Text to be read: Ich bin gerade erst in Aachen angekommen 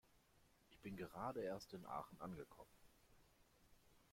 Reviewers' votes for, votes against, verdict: 0, 2, rejected